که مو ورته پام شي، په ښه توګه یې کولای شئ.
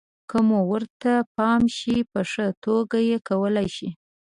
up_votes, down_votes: 0, 2